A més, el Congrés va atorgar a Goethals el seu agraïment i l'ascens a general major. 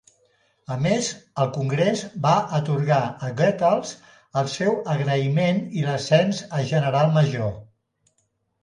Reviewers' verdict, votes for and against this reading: accepted, 3, 0